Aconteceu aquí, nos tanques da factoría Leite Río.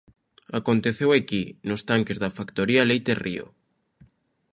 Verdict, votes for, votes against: accepted, 2, 0